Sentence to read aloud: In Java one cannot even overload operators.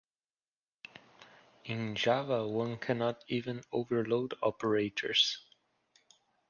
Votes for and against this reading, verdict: 2, 0, accepted